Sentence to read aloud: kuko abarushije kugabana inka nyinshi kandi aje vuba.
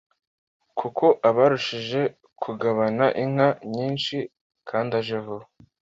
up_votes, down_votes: 2, 0